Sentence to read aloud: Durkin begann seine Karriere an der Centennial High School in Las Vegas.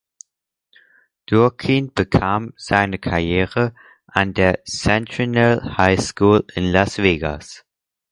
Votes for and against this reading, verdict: 0, 4, rejected